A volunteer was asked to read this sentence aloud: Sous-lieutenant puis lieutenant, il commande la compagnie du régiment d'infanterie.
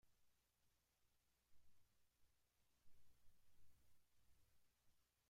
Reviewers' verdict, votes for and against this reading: rejected, 1, 2